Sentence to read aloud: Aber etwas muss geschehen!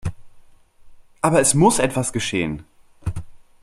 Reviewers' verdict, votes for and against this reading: rejected, 0, 2